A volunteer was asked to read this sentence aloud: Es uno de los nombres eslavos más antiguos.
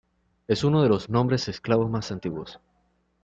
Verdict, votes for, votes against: accepted, 2, 0